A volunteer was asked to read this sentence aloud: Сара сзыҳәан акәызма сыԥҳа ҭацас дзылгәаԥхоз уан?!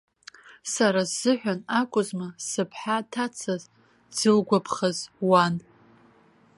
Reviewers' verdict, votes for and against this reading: rejected, 0, 2